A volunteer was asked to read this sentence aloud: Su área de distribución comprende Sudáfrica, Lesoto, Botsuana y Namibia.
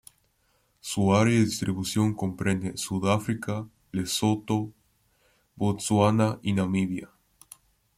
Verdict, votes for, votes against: accepted, 2, 0